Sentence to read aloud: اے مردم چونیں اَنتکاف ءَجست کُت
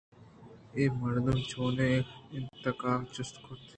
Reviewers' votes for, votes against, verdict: 0, 2, rejected